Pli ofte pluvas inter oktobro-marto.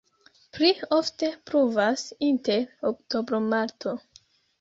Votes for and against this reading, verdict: 1, 3, rejected